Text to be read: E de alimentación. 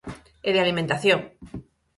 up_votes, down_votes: 4, 0